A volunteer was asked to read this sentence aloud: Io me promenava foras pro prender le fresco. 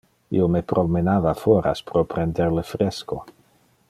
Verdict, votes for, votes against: accepted, 2, 0